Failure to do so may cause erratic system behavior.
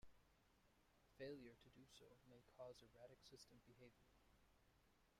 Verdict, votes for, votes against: accepted, 2, 1